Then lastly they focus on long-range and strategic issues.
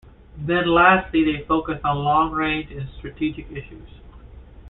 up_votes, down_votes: 2, 0